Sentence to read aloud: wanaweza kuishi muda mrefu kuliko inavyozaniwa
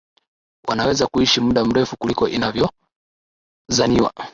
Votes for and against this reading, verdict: 2, 0, accepted